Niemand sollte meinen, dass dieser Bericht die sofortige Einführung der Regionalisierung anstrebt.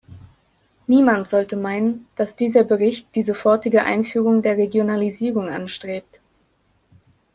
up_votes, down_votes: 2, 0